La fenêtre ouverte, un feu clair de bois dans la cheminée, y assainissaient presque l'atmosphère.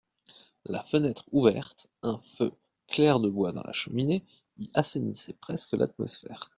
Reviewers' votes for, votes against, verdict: 2, 0, accepted